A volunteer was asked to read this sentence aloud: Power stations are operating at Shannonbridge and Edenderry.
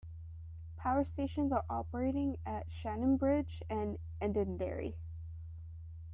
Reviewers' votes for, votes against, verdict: 2, 0, accepted